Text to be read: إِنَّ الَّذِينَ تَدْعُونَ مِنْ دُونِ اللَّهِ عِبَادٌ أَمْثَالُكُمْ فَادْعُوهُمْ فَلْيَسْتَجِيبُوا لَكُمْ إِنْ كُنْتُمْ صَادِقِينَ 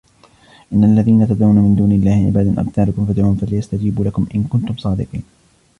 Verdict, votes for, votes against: rejected, 1, 2